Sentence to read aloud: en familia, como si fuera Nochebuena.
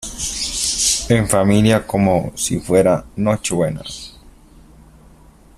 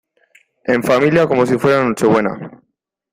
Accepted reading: second